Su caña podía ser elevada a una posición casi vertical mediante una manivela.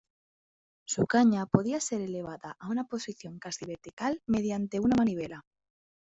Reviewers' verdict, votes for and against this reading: accepted, 2, 1